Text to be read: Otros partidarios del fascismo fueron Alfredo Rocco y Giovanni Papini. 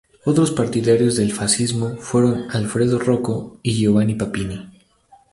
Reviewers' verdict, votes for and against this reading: accepted, 2, 0